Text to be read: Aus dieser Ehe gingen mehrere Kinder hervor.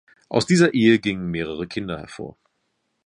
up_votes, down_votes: 2, 0